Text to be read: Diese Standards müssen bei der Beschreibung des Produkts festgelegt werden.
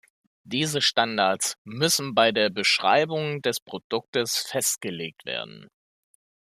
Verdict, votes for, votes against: rejected, 1, 2